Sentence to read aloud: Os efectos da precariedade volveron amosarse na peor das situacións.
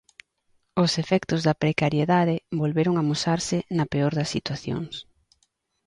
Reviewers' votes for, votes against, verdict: 2, 0, accepted